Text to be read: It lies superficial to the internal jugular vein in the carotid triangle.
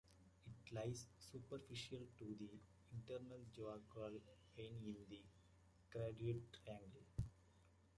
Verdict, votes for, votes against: rejected, 0, 2